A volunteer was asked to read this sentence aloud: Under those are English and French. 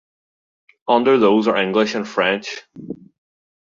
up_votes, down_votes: 2, 0